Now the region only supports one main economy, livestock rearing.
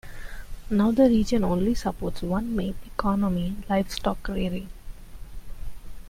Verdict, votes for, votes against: accepted, 2, 0